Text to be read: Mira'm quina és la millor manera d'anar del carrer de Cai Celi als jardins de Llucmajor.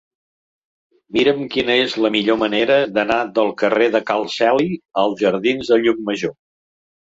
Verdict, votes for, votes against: rejected, 1, 2